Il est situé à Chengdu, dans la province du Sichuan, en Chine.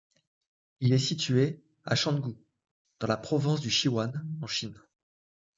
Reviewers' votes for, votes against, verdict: 1, 2, rejected